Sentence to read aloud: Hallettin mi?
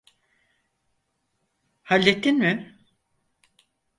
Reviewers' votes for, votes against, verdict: 4, 0, accepted